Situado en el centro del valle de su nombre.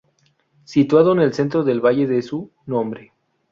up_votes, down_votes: 0, 2